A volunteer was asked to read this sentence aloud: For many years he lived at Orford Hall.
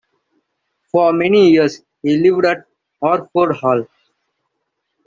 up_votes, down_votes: 2, 0